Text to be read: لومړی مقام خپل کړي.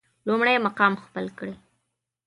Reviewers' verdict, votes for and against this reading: accepted, 2, 0